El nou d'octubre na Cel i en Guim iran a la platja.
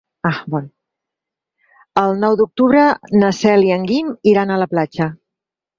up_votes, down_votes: 0, 4